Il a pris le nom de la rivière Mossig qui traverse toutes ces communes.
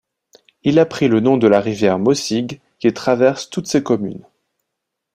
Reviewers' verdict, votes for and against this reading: accepted, 3, 0